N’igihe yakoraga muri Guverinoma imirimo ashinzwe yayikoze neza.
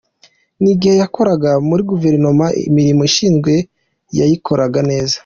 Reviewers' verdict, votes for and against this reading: rejected, 1, 2